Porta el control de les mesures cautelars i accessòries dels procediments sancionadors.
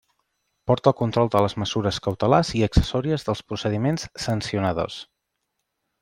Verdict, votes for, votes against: rejected, 1, 2